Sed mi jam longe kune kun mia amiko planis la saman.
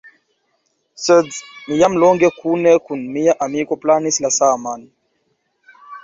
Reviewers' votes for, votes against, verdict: 2, 0, accepted